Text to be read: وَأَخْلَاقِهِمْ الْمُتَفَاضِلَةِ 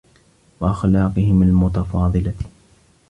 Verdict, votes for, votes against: accepted, 3, 0